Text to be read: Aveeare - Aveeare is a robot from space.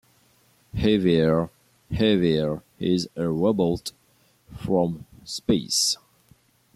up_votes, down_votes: 1, 2